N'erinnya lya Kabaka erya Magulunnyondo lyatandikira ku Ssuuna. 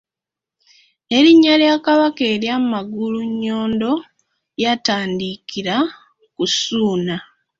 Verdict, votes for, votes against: accepted, 2, 1